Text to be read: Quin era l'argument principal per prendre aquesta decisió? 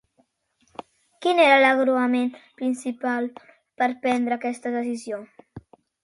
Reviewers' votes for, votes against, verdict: 0, 2, rejected